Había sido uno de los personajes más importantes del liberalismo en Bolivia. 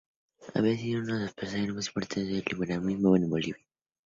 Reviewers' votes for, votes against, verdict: 0, 2, rejected